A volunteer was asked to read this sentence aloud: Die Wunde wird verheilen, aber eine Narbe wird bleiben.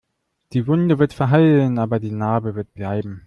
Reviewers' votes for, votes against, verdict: 1, 2, rejected